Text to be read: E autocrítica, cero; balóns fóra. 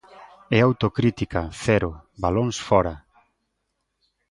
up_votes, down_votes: 2, 0